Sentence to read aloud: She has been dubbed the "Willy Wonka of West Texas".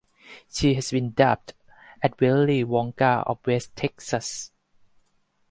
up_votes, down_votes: 4, 0